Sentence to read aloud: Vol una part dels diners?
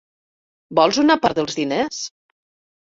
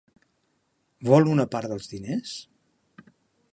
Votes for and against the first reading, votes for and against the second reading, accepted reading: 1, 2, 3, 0, second